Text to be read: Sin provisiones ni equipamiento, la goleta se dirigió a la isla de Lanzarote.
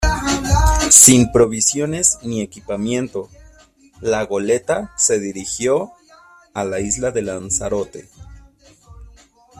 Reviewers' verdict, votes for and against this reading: rejected, 1, 2